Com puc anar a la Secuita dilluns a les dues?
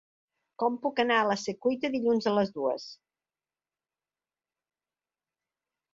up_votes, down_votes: 2, 0